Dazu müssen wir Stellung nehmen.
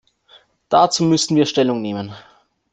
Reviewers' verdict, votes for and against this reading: rejected, 1, 2